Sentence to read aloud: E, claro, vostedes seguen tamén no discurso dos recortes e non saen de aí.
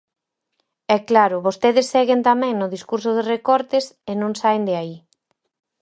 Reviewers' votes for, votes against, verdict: 4, 0, accepted